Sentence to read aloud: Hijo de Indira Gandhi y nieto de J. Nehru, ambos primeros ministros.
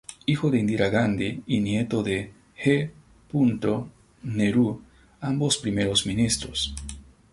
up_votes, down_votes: 2, 2